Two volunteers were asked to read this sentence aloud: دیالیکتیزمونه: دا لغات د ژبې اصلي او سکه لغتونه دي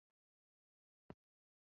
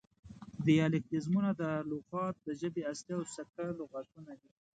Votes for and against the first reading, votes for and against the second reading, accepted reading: 0, 2, 2, 0, second